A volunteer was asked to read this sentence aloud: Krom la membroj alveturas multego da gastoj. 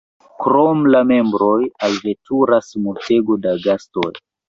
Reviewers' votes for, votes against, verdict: 1, 2, rejected